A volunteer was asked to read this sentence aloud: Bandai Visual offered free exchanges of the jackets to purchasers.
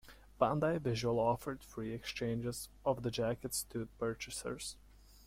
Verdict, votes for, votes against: accepted, 2, 0